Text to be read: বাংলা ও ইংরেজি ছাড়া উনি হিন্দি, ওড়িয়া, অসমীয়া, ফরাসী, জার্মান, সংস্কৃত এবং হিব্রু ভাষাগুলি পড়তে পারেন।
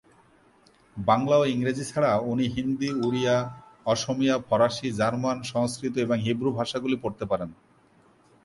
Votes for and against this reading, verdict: 2, 0, accepted